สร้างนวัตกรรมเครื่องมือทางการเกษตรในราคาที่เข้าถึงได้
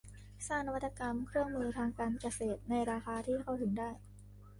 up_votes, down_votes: 2, 0